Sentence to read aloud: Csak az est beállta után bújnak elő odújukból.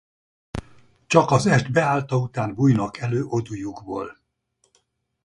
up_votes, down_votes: 0, 4